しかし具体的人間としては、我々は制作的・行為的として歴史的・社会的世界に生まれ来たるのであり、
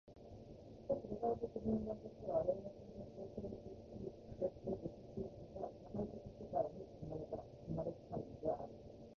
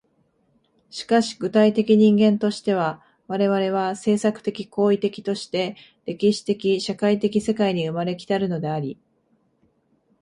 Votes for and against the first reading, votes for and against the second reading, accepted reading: 0, 2, 2, 0, second